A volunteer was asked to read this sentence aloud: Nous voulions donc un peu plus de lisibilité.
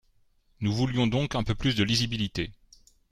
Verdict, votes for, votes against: accepted, 2, 0